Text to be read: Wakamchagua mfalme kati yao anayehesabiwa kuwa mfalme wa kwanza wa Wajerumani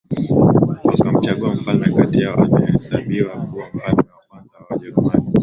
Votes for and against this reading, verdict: 2, 1, accepted